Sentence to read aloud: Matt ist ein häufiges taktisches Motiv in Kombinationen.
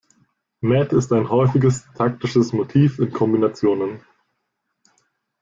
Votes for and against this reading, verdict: 1, 2, rejected